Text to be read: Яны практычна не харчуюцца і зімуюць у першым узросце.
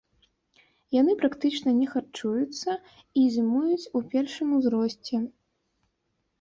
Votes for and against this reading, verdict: 0, 2, rejected